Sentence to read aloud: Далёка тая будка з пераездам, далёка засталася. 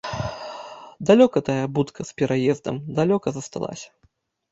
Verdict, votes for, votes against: rejected, 1, 2